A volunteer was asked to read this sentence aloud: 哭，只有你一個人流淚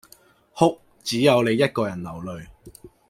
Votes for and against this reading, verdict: 2, 0, accepted